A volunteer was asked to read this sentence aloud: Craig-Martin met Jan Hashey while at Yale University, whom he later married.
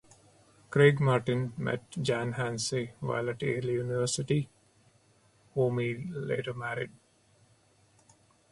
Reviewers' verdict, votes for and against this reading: rejected, 0, 2